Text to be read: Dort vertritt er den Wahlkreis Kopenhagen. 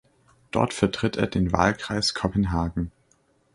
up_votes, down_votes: 2, 0